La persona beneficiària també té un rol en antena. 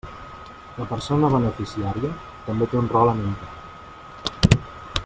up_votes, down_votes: 1, 2